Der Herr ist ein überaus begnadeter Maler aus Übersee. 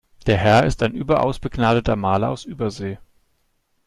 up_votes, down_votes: 2, 0